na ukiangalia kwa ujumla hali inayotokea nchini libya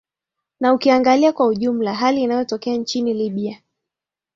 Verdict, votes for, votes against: accepted, 2, 1